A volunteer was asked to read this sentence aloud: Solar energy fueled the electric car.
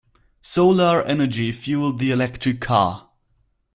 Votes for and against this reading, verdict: 4, 0, accepted